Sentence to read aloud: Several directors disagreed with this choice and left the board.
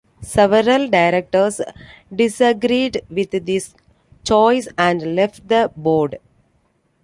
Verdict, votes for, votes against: accepted, 2, 1